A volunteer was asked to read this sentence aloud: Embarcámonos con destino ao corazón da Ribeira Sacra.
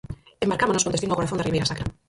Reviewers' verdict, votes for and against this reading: rejected, 0, 4